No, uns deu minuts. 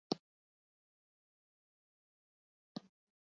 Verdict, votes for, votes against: rejected, 1, 2